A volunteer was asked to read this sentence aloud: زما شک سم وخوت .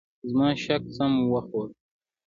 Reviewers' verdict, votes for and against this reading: accepted, 3, 0